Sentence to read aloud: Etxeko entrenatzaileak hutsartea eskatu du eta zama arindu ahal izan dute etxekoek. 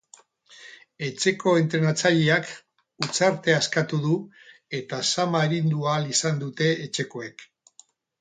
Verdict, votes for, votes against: accepted, 4, 0